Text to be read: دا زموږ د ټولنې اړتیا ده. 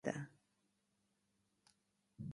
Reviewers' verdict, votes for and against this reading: rejected, 0, 2